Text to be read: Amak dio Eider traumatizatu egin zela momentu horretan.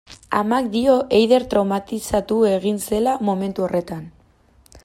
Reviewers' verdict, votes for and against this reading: accepted, 2, 0